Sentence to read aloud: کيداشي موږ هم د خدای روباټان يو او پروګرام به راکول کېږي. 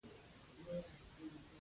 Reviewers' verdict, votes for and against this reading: rejected, 1, 2